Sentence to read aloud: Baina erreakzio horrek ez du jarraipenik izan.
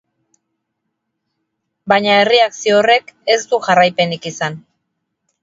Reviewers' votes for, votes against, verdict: 4, 0, accepted